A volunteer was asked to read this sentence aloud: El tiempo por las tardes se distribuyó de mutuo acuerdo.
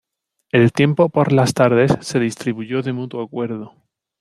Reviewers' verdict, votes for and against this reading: accepted, 2, 0